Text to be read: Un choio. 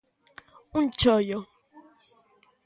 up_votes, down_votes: 2, 0